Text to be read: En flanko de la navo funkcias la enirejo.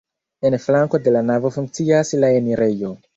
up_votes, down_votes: 2, 0